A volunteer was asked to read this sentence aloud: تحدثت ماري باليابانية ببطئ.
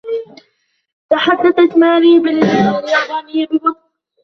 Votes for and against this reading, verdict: 1, 3, rejected